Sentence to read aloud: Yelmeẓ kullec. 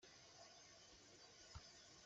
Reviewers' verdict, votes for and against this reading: rejected, 1, 2